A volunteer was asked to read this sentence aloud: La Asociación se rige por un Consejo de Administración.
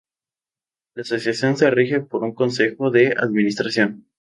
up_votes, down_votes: 2, 0